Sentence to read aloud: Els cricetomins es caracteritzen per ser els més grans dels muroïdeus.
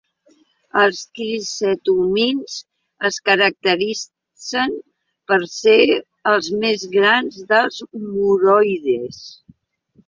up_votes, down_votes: 1, 2